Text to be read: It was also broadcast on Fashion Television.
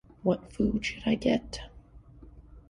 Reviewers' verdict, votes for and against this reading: rejected, 0, 2